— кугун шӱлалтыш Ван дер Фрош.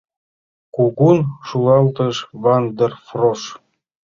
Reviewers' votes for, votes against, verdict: 1, 2, rejected